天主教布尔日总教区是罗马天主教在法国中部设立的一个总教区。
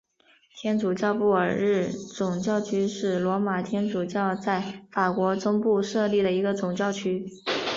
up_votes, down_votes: 3, 0